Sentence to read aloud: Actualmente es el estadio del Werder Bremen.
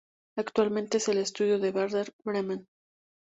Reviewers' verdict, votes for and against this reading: rejected, 0, 2